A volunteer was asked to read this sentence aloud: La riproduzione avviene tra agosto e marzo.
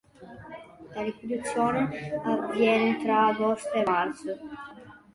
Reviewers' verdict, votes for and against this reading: rejected, 0, 2